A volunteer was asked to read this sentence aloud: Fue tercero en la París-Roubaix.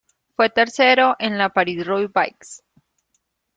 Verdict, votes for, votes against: accepted, 2, 0